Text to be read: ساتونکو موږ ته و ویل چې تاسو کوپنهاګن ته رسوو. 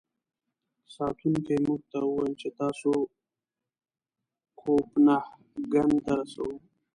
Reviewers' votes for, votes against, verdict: 1, 2, rejected